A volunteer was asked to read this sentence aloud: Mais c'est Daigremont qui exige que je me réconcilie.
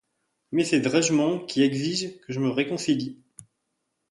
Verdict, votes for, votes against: rejected, 1, 2